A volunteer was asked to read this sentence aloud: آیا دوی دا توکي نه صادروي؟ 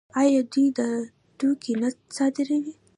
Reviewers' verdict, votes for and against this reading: accepted, 2, 0